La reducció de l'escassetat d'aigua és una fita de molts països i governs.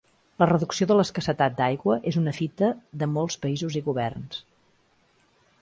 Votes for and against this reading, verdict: 6, 0, accepted